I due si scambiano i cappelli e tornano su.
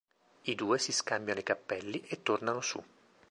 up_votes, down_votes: 2, 0